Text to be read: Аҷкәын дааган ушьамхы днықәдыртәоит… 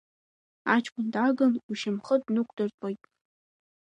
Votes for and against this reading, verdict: 2, 0, accepted